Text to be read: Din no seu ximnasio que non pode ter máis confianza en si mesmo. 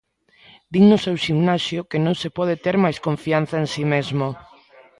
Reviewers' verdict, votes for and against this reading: rejected, 1, 2